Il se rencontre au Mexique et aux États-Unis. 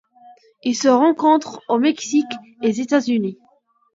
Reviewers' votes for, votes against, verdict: 1, 2, rejected